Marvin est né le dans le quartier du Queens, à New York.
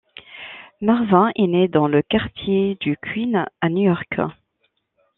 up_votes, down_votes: 0, 2